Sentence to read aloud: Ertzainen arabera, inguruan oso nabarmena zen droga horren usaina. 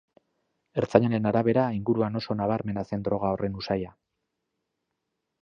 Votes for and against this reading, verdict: 0, 2, rejected